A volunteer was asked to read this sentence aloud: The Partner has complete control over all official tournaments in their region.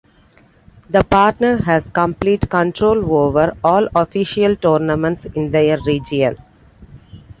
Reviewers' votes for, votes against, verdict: 2, 0, accepted